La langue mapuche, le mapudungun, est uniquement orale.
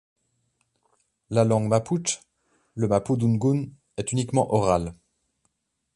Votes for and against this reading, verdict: 2, 0, accepted